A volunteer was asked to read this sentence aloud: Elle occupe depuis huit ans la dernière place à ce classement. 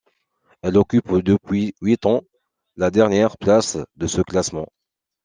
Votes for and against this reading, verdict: 1, 2, rejected